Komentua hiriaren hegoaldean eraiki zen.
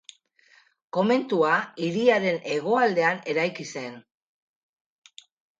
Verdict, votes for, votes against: accepted, 4, 0